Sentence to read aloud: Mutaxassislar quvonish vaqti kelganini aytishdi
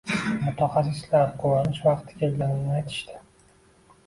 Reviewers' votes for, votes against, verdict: 1, 2, rejected